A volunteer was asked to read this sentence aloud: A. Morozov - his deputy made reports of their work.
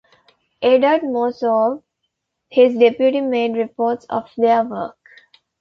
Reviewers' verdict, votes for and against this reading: rejected, 0, 2